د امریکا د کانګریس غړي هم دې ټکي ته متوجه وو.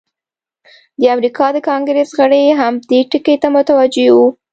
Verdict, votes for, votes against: accepted, 2, 0